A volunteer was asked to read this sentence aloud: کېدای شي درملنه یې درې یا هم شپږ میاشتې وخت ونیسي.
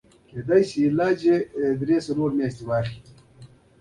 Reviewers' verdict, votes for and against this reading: rejected, 1, 2